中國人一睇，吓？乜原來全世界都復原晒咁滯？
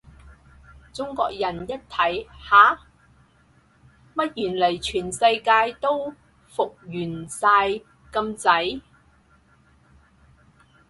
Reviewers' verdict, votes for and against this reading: rejected, 2, 2